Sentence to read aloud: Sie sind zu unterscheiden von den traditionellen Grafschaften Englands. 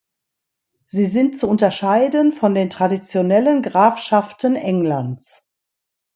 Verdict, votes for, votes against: accepted, 2, 0